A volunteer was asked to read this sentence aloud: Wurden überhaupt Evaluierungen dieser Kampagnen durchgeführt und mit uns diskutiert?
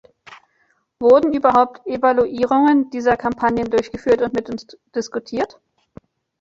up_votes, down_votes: 1, 2